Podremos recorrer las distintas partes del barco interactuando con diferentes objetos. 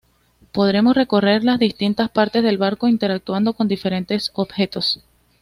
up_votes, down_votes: 2, 0